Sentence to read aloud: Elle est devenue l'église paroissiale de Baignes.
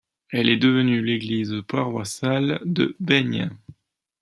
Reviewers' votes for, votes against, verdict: 1, 2, rejected